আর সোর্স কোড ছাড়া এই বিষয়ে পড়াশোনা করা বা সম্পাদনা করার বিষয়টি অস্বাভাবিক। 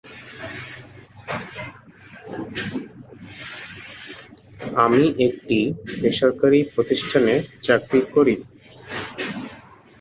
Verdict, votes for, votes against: rejected, 0, 3